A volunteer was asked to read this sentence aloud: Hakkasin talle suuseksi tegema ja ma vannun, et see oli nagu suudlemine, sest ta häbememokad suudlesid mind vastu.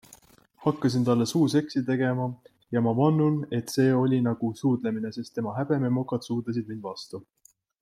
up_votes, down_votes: 2, 0